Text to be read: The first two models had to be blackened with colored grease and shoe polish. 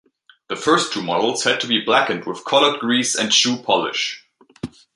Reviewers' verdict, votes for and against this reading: accepted, 2, 0